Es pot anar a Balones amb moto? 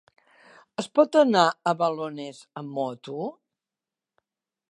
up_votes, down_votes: 2, 0